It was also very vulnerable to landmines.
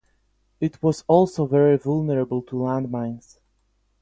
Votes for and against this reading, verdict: 4, 4, rejected